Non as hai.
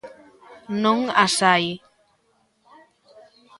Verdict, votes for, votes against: accepted, 2, 0